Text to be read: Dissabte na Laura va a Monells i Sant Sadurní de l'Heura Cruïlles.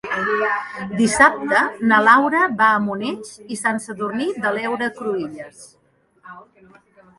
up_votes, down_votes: 2, 0